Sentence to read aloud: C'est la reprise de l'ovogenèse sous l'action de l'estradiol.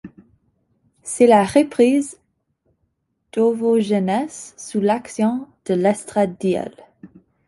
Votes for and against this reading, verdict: 1, 2, rejected